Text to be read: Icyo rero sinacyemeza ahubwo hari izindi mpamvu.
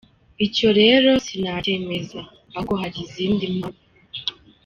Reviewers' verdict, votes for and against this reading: rejected, 0, 2